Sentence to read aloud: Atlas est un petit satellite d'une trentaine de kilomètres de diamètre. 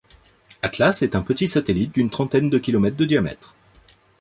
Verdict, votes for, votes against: accepted, 2, 0